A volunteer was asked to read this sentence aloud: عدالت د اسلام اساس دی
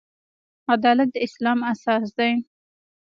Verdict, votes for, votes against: accepted, 2, 0